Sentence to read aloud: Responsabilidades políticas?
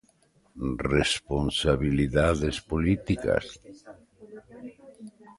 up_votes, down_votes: 2, 0